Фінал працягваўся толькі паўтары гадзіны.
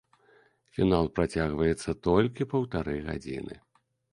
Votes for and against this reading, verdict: 0, 2, rejected